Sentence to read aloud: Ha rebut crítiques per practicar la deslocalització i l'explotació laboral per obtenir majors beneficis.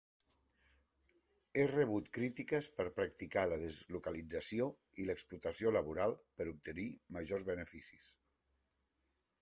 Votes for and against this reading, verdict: 0, 2, rejected